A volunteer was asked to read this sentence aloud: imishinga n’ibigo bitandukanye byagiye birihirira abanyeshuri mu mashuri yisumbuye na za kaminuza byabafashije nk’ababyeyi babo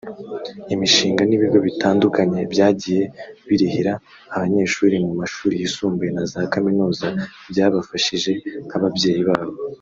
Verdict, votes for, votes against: accepted, 3, 0